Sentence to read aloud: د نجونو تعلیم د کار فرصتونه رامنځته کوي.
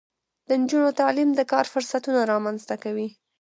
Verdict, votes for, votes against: rejected, 1, 2